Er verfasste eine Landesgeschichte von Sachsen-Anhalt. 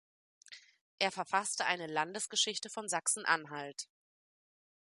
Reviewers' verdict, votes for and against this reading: accepted, 2, 0